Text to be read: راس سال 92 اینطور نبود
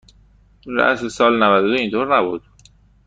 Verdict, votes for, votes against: rejected, 0, 2